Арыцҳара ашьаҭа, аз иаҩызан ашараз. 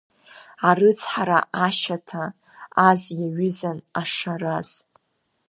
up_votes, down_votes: 0, 2